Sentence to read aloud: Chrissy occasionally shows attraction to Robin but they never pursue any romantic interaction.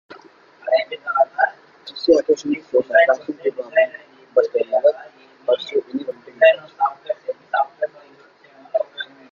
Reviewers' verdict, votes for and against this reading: rejected, 0, 2